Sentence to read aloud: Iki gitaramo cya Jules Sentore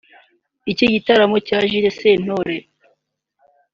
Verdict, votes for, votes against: accepted, 2, 0